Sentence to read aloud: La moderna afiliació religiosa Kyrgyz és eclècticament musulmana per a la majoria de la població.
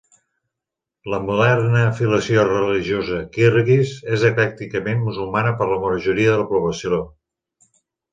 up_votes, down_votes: 2, 0